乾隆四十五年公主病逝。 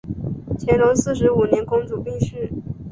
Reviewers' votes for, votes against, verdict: 5, 0, accepted